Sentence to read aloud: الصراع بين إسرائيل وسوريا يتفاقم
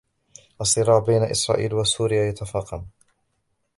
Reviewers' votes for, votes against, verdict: 1, 2, rejected